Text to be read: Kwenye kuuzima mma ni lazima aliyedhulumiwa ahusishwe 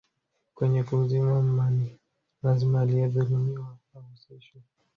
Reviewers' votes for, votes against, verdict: 0, 2, rejected